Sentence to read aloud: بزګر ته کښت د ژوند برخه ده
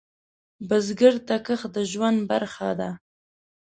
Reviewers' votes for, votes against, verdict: 5, 0, accepted